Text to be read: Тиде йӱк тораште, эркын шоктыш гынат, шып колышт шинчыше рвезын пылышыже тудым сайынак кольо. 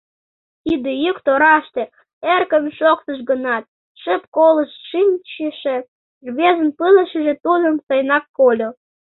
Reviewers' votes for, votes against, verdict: 2, 0, accepted